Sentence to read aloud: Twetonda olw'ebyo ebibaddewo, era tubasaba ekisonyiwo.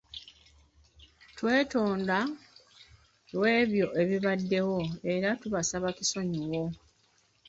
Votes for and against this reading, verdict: 0, 2, rejected